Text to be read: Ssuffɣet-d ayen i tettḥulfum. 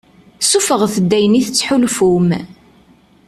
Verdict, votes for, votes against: accepted, 2, 0